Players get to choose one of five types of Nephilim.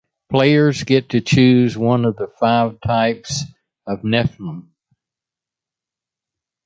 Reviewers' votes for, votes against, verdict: 1, 2, rejected